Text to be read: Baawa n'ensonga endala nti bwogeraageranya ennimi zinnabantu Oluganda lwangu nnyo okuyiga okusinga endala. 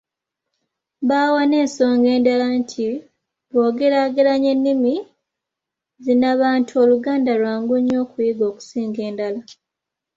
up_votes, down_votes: 2, 0